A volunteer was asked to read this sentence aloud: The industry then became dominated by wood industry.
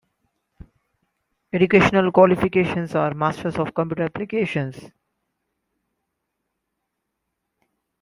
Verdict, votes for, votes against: rejected, 0, 2